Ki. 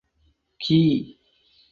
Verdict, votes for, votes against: accepted, 4, 0